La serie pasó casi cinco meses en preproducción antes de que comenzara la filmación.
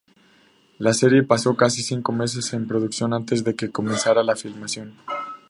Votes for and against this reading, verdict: 2, 0, accepted